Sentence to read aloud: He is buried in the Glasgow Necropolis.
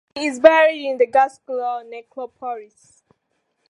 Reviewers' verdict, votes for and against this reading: rejected, 1, 2